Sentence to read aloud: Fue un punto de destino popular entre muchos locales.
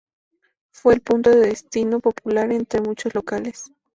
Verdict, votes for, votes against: rejected, 0, 2